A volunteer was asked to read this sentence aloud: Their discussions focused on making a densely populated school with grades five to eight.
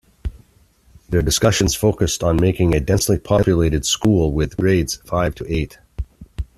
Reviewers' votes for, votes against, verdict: 2, 1, accepted